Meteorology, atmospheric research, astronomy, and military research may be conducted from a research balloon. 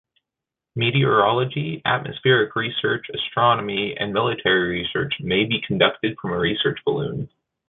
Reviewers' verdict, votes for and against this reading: accepted, 2, 0